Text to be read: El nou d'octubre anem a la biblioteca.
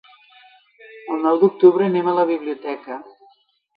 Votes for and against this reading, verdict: 4, 0, accepted